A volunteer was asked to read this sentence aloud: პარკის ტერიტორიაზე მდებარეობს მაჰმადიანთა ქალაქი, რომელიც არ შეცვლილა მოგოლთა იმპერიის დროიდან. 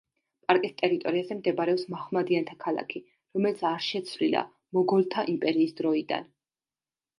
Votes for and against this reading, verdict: 2, 0, accepted